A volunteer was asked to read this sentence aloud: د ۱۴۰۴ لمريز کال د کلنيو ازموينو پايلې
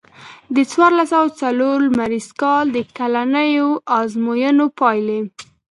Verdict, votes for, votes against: rejected, 0, 2